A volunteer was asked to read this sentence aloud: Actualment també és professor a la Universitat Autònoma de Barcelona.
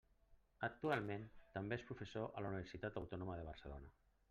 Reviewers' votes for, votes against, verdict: 3, 0, accepted